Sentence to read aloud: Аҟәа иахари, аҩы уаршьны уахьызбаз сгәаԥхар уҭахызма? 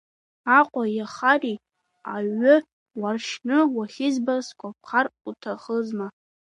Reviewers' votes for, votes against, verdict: 1, 3, rejected